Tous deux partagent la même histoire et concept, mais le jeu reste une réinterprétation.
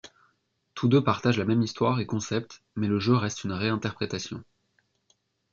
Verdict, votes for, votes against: accepted, 2, 0